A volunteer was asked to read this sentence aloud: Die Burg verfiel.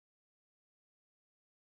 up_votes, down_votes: 0, 2